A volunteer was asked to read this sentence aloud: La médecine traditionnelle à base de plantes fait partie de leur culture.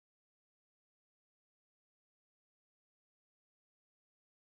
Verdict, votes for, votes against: rejected, 1, 2